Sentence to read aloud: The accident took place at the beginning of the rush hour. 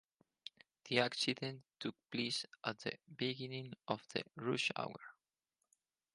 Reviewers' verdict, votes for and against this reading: accepted, 4, 0